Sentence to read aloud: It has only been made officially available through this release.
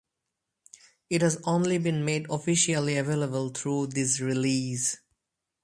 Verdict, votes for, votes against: accepted, 4, 0